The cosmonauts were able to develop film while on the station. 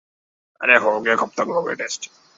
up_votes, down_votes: 0, 2